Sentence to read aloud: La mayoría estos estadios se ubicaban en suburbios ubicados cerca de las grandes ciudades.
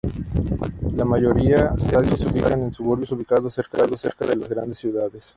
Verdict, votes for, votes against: rejected, 0, 2